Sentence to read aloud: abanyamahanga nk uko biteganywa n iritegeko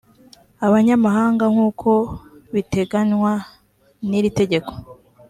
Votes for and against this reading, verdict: 3, 0, accepted